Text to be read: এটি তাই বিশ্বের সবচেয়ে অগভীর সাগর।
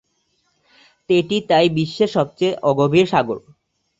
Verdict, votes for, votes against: accepted, 4, 0